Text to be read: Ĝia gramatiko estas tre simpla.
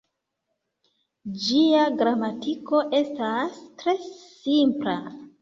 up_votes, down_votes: 2, 0